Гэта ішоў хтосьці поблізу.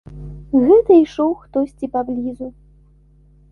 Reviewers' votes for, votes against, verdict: 0, 2, rejected